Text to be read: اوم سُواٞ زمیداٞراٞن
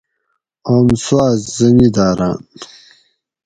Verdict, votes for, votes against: accepted, 4, 0